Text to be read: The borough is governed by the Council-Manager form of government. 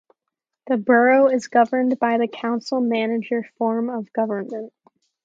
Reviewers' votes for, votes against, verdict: 4, 0, accepted